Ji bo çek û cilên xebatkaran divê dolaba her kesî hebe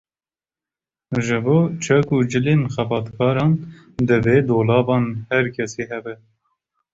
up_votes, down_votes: 1, 2